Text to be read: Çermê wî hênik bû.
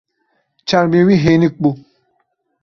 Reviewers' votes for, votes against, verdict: 2, 1, accepted